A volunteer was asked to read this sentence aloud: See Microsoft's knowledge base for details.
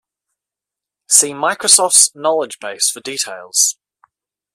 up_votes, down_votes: 2, 0